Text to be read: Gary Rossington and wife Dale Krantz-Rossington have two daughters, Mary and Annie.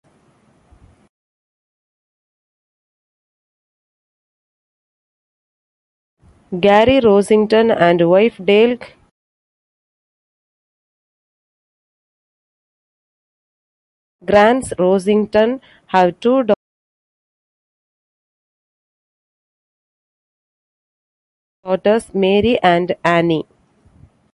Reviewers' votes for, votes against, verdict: 0, 2, rejected